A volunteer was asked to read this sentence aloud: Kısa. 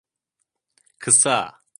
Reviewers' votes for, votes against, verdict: 2, 0, accepted